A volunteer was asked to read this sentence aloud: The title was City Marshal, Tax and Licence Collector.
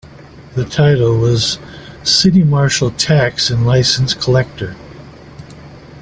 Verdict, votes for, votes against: accepted, 2, 0